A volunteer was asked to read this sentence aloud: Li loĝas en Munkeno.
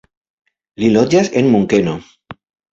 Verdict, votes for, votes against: accepted, 2, 0